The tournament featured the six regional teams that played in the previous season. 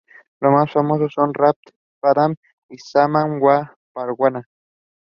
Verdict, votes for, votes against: rejected, 0, 2